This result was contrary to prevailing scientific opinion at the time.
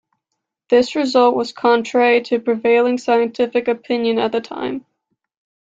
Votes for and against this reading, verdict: 2, 0, accepted